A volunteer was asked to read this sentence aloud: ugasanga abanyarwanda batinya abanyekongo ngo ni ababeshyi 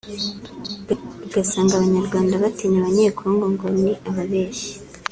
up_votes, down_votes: 2, 0